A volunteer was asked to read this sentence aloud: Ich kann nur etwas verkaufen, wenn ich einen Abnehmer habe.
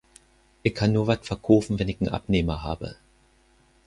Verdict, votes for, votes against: rejected, 0, 4